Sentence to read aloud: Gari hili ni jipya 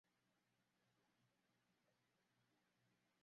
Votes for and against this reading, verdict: 0, 2, rejected